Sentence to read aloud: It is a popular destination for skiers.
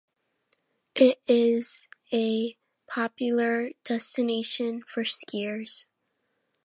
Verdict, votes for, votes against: accepted, 2, 0